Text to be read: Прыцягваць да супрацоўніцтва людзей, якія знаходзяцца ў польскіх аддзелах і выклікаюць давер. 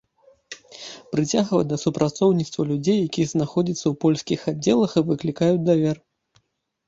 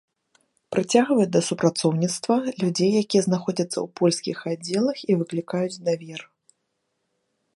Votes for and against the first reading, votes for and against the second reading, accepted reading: 1, 2, 2, 0, second